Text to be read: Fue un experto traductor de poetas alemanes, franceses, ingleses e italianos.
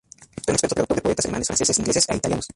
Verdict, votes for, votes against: rejected, 0, 2